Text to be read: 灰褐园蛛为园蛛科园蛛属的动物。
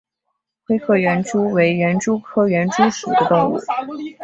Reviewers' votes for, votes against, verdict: 2, 0, accepted